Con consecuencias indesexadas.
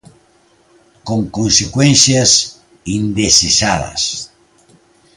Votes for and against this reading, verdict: 2, 0, accepted